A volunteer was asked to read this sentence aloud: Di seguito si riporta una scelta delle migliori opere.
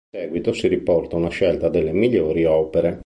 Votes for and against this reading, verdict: 1, 3, rejected